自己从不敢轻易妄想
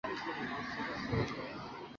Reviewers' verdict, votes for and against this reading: rejected, 1, 5